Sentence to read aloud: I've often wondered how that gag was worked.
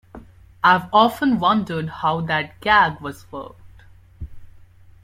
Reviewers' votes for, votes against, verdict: 2, 0, accepted